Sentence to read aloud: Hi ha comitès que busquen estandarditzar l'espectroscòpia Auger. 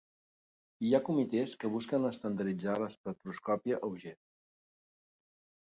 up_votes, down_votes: 0, 2